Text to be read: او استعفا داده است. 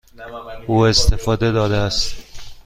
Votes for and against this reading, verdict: 2, 1, accepted